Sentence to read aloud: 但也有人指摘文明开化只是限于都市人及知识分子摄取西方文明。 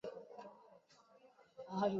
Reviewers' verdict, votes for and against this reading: rejected, 0, 2